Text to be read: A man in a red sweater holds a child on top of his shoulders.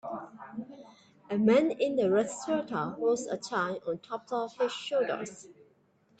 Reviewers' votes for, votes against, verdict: 0, 2, rejected